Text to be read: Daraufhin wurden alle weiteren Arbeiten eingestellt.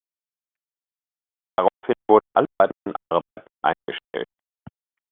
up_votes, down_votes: 0, 2